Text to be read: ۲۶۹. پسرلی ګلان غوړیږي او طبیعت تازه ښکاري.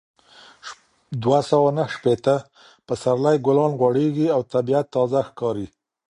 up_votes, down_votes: 0, 2